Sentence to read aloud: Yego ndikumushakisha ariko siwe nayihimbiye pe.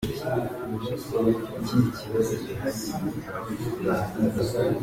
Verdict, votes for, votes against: rejected, 0, 2